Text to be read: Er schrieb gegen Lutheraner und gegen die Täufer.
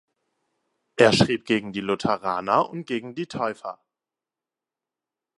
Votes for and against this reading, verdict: 0, 2, rejected